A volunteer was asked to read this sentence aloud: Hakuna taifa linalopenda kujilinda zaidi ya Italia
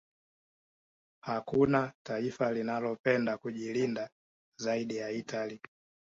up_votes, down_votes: 2, 0